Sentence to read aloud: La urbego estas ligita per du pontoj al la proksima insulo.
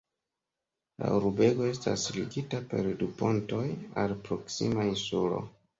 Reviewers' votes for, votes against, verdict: 1, 3, rejected